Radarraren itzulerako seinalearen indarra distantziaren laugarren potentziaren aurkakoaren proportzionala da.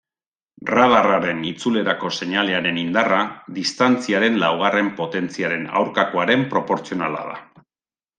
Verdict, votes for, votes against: accepted, 2, 0